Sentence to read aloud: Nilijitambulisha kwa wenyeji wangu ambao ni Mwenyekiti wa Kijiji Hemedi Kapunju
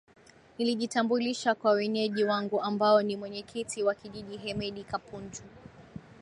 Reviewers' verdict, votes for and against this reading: accepted, 5, 1